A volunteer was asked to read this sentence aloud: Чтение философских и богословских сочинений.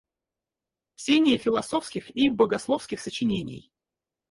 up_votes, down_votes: 2, 4